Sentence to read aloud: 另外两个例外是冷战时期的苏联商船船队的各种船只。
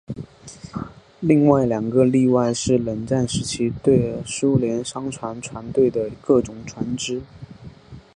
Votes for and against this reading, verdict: 4, 0, accepted